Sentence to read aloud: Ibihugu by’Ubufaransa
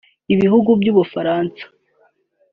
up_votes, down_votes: 2, 0